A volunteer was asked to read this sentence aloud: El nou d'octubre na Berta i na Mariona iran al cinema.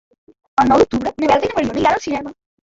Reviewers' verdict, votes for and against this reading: rejected, 1, 2